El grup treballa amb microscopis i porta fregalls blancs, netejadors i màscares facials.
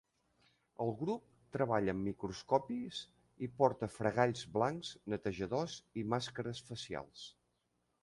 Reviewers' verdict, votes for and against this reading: accepted, 3, 0